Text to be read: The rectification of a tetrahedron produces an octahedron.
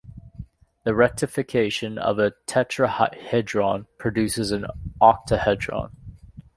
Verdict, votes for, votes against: rejected, 1, 2